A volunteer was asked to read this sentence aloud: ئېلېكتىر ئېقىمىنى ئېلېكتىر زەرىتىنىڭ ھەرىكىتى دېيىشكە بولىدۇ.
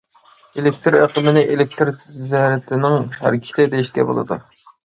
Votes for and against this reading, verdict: 2, 0, accepted